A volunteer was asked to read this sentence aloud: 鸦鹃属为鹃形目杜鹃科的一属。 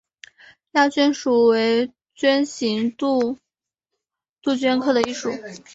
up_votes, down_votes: 2, 3